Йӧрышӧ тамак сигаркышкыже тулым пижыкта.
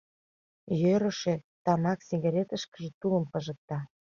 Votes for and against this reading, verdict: 1, 2, rejected